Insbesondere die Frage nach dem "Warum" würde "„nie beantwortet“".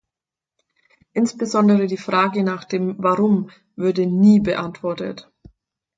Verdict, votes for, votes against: accepted, 4, 0